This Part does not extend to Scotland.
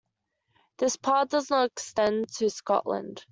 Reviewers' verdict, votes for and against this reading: accepted, 2, 0